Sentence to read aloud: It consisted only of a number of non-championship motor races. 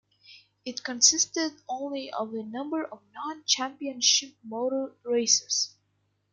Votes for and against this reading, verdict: 2, 0, accepted